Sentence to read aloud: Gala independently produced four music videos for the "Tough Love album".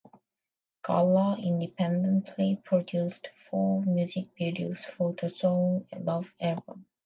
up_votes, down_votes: 0, 2